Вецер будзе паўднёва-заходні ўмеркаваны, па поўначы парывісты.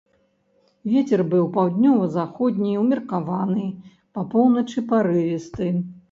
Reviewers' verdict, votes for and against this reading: rejected, 1, 3